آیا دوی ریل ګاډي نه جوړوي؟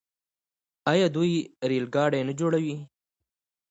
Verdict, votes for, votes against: accepted, 2, 1